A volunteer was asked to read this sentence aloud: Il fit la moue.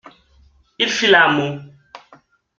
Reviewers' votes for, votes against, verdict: 2, 0, accepted